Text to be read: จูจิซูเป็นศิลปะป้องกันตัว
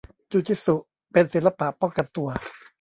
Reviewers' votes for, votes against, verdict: 1, 2, rejected